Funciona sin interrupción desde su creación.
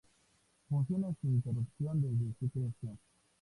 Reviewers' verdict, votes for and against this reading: accepted, 2, 0